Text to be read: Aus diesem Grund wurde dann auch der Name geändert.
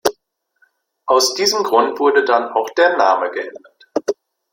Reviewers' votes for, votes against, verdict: 1, 2, rejected